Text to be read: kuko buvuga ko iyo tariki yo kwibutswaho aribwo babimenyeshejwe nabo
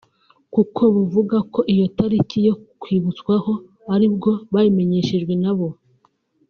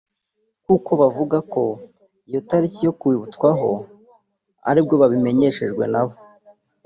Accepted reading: first